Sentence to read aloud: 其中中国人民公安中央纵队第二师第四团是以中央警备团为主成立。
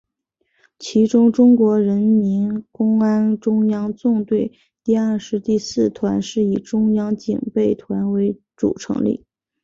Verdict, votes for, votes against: accepted, 3, 1